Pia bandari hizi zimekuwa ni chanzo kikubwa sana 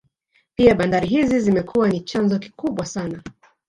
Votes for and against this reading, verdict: 1, 2, rejected